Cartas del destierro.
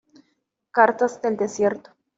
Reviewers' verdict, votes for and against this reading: rejected, 1, 2